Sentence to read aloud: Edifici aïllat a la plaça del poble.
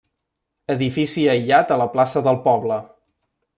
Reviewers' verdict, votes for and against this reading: accepted, 3, 0